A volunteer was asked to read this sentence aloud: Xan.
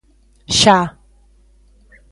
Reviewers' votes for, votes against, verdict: 0, 2, rejected